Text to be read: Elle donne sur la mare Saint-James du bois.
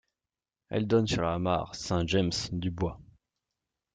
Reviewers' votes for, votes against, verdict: 2, 0, accepted